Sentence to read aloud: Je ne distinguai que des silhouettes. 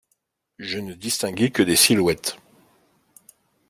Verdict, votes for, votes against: accepted, 2, 0